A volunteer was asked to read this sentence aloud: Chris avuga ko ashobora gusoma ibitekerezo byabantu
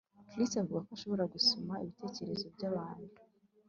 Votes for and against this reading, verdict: 0, 2, rejected